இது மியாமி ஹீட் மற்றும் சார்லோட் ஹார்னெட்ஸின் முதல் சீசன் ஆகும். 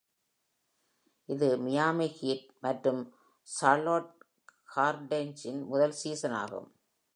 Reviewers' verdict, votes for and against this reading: rejected, 1, 2